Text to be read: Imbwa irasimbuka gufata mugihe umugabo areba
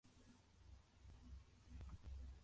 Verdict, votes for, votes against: rejected, 0, 2